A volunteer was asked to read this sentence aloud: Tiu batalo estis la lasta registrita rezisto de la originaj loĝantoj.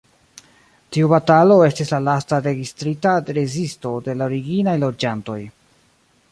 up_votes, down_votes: 0, 2